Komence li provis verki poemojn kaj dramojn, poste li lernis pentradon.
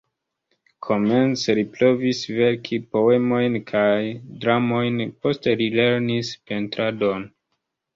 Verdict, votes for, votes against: rejected, 0, 2